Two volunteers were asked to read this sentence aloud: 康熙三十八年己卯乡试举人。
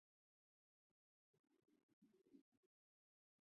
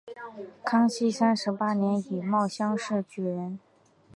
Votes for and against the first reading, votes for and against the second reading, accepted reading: 0, 2, 3, 1, second